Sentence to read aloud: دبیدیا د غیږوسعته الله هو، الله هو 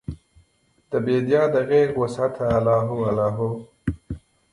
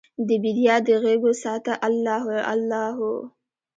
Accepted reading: second